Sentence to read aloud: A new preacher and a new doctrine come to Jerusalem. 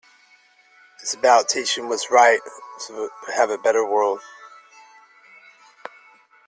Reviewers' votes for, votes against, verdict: 0, 2, rejected